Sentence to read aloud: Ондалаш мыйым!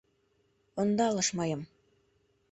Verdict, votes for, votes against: rejected, 0, 2